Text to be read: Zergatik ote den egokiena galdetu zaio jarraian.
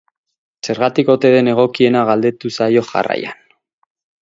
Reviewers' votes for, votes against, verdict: 6, 0, accepted